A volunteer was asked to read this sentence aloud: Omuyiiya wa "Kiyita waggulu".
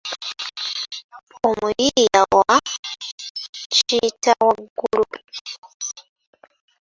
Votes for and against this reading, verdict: 1, 2, rejected